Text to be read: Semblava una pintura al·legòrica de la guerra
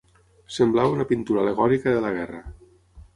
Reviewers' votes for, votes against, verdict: 6, 0, accepted